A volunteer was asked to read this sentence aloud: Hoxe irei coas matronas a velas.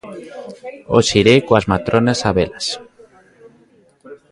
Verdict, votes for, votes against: rejected, 1, 2